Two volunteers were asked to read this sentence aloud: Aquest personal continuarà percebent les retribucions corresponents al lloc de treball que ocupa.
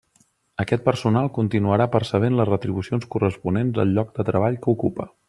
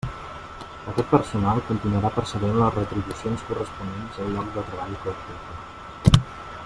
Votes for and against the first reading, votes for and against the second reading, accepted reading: 2, 0, 0, 2, first